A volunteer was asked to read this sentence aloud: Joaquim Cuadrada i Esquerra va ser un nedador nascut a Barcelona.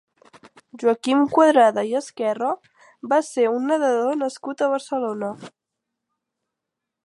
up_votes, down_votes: 2, 0